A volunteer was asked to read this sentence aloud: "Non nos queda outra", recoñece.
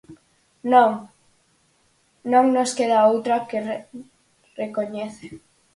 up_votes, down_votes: 0, 4